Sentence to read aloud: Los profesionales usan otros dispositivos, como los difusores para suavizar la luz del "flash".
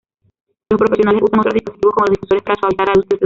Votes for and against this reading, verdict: 0, 2, rejected